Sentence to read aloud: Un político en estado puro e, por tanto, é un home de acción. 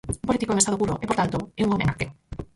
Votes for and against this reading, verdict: 0, 4, rejected